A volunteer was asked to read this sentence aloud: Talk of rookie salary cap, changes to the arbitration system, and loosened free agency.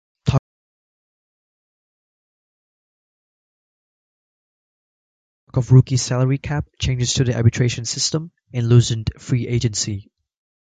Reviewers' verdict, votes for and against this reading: rejected, 1, 2